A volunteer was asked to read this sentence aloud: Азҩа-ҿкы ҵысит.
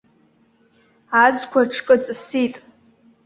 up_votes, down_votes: 0, 2